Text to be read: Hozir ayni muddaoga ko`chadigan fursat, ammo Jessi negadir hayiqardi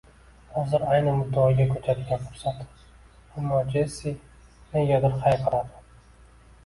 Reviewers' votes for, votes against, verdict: 2, 1, accepted